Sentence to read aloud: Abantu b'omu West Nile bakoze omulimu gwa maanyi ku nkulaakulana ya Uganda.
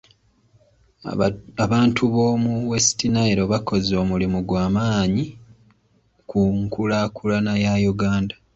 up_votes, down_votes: 2, 0